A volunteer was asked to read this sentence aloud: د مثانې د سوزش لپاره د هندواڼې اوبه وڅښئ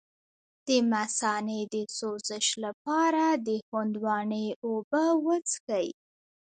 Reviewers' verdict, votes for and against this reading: rejected, 0, 2